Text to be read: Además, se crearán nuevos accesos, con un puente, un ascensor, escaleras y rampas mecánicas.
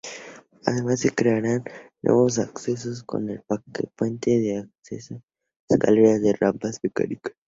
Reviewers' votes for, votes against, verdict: 0, 2, rejected